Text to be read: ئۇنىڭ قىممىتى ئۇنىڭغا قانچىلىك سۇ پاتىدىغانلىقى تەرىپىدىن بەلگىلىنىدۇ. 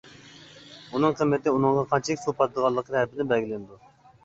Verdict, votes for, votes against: accepted, 2, 0